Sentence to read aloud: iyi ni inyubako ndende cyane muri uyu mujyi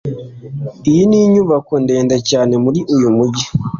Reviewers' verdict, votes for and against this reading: accepted, 2, 0